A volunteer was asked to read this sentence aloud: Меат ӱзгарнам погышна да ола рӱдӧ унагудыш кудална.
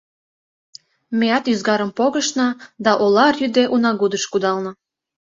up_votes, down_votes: 0, 2